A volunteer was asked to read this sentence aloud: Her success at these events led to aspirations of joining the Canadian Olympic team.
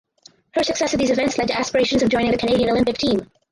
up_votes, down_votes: 0, 4